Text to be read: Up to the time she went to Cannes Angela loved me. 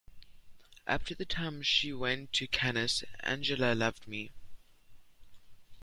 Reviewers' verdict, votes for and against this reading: rejected, 1, 2